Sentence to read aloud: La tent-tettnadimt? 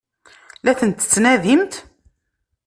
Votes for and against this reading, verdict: 2, 0, accepted